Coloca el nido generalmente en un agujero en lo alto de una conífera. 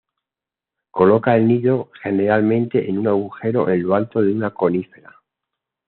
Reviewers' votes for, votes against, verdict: 2, 1, accepted